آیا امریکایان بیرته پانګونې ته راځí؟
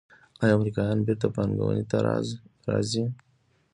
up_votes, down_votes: 2, 0